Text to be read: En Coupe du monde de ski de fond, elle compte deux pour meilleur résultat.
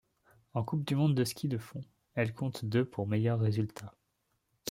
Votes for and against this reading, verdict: 2, 0, accepted